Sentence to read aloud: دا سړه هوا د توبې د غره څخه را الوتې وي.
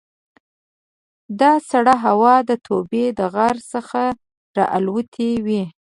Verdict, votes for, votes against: rejected, 1, 2